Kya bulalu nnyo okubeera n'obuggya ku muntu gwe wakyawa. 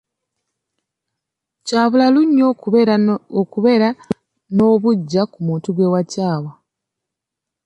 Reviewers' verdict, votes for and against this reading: accepted, 2, 0